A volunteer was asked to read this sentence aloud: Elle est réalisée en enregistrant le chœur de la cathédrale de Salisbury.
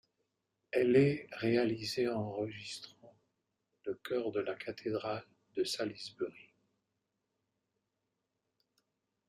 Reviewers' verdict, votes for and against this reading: accepted, 2, 1